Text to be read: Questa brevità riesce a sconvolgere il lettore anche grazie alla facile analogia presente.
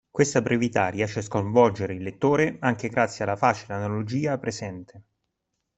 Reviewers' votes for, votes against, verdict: 2, 0, accepted